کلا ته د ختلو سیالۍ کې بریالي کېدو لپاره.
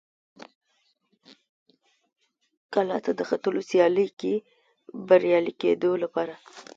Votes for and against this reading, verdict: 2, 0, accepted